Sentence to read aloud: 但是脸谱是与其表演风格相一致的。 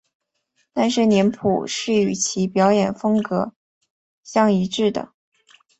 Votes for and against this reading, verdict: 2, 0, accepted